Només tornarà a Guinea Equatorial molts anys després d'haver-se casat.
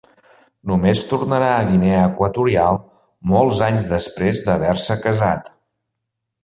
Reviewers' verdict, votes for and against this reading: accepted, 2, 0